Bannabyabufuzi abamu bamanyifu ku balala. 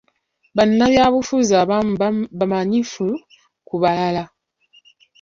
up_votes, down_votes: 0, 2